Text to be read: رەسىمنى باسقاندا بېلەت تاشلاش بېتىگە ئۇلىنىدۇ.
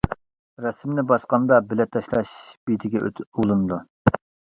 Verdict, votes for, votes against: rejected, 0, 2